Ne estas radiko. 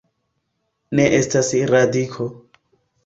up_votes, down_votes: 2, 1